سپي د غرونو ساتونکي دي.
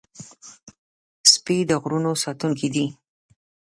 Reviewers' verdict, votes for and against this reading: accepted, 2, 0